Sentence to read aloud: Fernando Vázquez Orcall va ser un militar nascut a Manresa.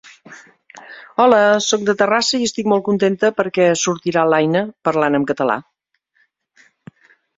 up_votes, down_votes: 1, 2